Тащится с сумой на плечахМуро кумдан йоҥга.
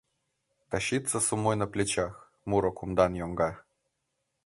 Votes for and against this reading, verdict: 1, 2, rejected